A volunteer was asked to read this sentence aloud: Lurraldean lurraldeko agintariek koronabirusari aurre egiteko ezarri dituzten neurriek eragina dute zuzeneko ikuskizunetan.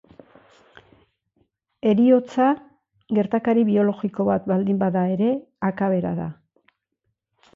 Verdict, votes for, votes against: rejected, 0, 2